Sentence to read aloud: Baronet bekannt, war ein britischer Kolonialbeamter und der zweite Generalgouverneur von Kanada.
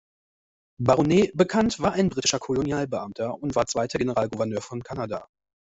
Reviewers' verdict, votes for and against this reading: rejected, 0, 2